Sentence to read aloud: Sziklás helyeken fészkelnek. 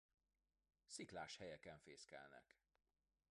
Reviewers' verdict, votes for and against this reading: rejected, 0, 2